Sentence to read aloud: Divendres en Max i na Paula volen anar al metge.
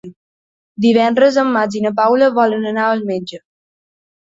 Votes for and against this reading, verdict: 4, 0, accepted